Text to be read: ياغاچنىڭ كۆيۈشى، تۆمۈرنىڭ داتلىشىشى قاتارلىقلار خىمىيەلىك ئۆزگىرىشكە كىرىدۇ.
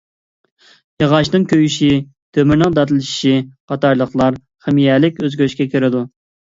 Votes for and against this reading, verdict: 2, 0, accepted